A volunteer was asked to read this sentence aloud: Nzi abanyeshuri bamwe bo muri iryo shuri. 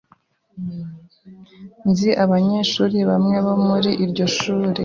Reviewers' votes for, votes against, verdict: 2, 0, accepted